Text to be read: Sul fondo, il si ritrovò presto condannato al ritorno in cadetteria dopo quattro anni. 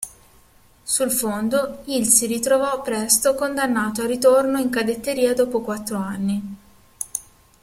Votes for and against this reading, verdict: 2, 0, accepted